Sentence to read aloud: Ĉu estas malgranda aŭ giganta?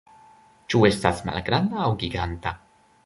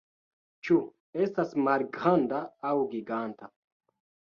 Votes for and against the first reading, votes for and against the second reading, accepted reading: 2, 0, 1, 2, first